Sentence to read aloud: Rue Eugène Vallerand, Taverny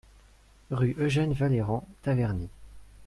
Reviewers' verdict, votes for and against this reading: accepted, 4, 0